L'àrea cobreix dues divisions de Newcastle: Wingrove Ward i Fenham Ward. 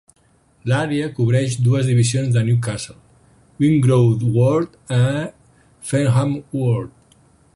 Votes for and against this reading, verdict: 0, 6, rejected